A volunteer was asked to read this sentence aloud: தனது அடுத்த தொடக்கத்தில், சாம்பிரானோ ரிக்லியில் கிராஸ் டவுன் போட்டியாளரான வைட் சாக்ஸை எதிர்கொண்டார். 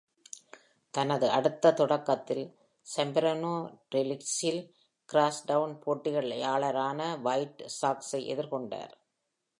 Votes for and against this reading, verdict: 2, 0, accepted